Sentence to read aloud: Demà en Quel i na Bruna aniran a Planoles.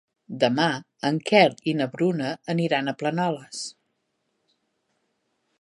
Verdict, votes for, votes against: accepted, 4, 0